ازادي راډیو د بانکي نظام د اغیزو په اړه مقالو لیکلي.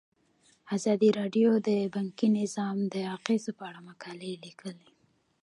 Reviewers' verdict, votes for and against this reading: rejected, 1, 2